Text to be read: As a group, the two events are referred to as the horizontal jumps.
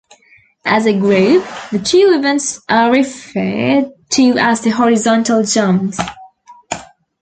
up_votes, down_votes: 1, 3